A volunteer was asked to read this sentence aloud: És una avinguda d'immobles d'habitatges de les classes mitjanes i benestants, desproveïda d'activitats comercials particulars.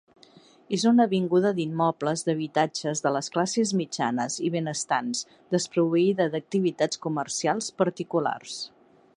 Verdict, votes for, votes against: accepted, 2, 0